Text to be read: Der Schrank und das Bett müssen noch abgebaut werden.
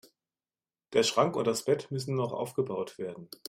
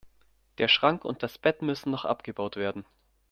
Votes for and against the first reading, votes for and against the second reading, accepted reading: 0, 2, 2, 0, second